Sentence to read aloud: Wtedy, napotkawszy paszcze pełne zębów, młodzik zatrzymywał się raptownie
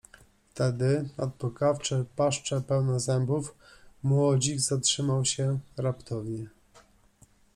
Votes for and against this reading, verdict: 0, 2, rejected